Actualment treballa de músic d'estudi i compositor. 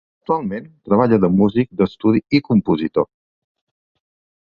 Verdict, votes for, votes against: accepted, 3, 0